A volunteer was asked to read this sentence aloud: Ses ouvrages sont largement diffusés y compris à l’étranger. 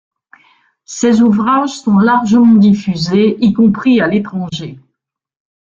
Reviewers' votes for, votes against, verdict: 2, 0, accepted